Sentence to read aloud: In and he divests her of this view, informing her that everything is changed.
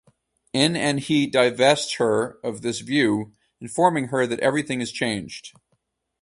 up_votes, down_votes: 2, 2